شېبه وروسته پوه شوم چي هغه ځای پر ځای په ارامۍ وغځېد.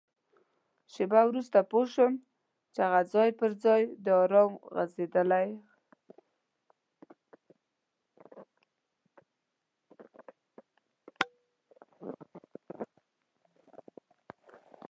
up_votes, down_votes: 0, 2